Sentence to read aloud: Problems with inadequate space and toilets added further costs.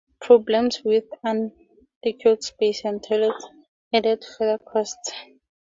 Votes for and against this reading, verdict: 2, 4, rejected